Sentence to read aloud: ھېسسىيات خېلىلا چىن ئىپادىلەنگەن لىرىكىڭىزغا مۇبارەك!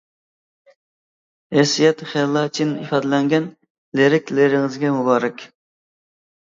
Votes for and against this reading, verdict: 0, 2, rejected